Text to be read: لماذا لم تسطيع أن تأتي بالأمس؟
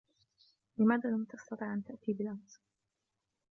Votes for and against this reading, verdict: 2, 0, accepted